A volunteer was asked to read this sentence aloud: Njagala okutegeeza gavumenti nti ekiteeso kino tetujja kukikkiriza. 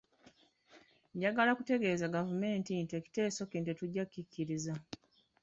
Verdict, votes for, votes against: rejected, 1, 2